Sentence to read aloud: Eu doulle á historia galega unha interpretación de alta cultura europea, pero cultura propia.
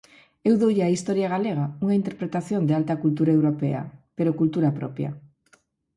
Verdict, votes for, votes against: accepted, 4, 0